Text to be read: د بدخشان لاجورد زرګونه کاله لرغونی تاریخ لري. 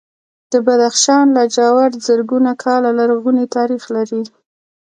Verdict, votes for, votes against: rejected, 1, 2